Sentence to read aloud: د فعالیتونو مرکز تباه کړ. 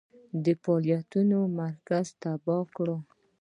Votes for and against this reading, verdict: 2, 0, accepted